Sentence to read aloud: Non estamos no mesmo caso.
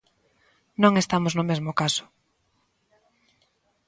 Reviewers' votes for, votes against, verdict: 3, 0, accepted